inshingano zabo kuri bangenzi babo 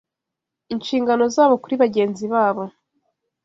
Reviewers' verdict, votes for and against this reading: accepted, 2, 0